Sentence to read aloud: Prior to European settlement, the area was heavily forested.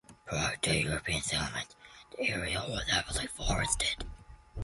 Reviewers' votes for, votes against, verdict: 1, 2, rejected